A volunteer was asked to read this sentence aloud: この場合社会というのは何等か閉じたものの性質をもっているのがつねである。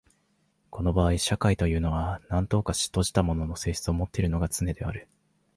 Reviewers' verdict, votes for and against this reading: accepted, 3, 1